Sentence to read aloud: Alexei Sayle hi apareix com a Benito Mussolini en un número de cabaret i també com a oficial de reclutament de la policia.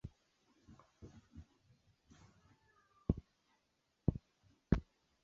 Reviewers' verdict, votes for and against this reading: rejected, 0, 2